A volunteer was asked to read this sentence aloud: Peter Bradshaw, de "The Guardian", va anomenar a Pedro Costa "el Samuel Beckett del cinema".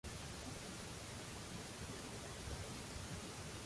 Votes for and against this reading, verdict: 0, 2, rejected